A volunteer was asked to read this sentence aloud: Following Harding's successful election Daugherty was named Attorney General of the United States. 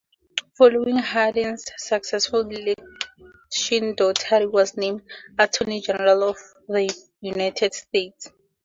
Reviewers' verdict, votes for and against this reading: rejected, 0, 4